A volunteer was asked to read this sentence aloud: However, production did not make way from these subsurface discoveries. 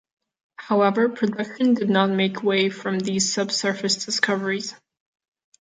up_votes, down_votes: 1, 2